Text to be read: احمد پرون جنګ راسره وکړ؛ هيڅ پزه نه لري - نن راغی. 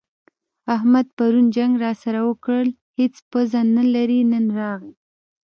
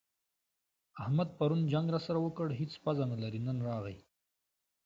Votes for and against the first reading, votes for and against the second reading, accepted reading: 1, 2, 2, 0, second